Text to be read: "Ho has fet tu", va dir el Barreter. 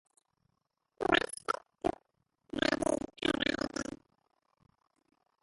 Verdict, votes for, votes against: rejected, 0, 2